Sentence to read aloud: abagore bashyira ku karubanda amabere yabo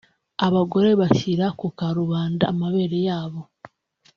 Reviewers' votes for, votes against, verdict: 2, 0, accepted